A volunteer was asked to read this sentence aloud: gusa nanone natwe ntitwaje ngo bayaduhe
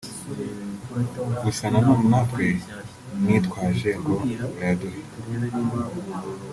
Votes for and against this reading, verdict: 2, 0, accepted